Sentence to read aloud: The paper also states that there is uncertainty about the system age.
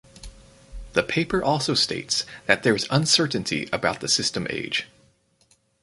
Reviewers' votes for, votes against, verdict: 4, 0, accepted